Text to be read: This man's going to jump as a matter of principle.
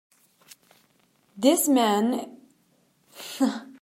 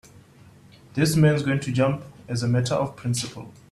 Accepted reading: second